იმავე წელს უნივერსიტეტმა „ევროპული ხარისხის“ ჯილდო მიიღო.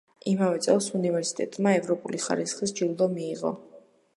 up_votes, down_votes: 2, 0